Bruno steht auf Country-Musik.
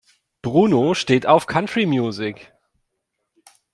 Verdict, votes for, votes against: rejected, 1, 2